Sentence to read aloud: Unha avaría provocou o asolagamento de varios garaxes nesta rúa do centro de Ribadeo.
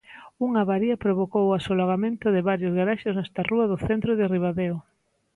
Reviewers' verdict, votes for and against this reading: accepted, 2, 0